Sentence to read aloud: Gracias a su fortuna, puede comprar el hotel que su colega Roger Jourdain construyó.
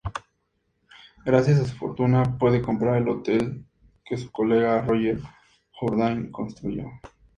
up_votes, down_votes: 4, 0